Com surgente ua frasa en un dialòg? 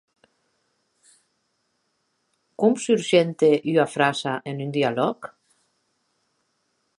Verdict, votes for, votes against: rejected, 0, 3